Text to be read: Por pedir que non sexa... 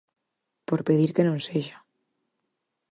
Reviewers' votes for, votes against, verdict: 4, 0, accepted